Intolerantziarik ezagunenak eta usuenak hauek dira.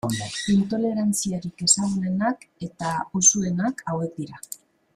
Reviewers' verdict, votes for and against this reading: rejected, 1, 2